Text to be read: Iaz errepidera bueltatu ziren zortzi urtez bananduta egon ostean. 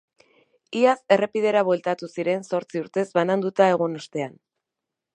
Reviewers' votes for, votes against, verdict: 4, 0, accepted